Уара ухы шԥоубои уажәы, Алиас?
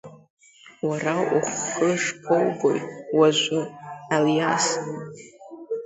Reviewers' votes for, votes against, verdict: 1, 2, rejected